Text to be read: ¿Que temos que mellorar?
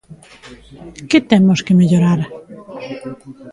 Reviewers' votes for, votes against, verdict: 3, 0, accepted